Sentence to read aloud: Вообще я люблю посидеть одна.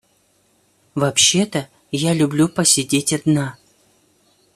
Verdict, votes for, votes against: rejected, 1, 2